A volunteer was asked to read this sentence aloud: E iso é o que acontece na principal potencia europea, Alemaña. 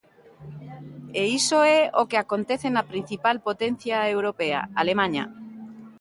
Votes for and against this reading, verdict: 2, 0, accepted